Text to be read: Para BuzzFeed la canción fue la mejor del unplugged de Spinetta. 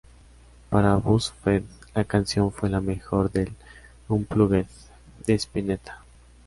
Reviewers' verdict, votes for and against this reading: rejected, 1, 2